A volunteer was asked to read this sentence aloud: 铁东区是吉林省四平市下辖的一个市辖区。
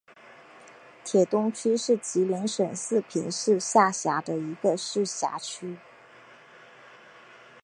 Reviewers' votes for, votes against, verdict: 2, 0, accepted